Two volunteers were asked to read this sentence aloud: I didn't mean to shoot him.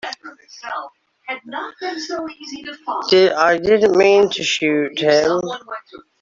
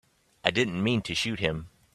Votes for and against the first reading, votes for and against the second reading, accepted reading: 0, 3, 2, 0, second